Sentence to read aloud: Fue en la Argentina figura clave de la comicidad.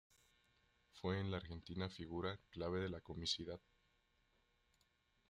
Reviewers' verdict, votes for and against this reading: rejected, 0, 2